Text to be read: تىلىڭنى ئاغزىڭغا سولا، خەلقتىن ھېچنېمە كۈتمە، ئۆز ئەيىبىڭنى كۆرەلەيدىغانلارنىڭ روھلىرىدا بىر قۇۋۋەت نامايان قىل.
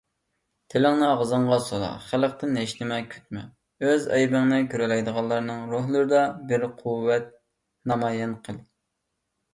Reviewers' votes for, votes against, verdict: 2, 0, accepted